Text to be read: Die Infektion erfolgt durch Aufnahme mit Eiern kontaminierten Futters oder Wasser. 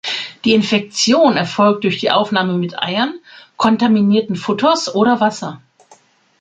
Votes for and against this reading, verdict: 0, 2, rejected